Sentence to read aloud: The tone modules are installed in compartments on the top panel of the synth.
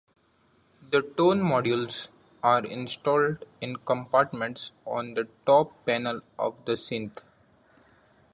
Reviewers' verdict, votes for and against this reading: accepted, 2, 0